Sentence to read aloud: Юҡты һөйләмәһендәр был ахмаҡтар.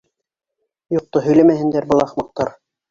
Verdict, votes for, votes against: accepted, 3, 1